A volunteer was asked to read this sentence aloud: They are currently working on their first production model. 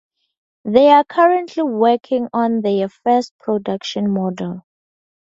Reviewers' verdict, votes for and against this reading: accepted, 4, 0